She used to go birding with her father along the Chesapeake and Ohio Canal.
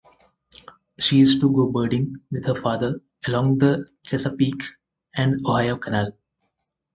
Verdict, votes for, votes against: accepted, 4, 0